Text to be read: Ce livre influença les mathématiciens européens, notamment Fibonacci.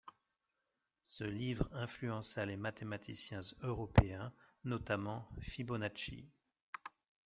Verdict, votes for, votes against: accepted, 2, 0